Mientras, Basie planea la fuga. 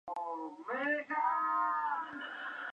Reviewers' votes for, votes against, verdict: 0, 6, rejected